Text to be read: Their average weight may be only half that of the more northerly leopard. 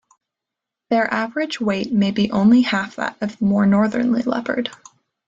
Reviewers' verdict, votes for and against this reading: accepted, 2, 0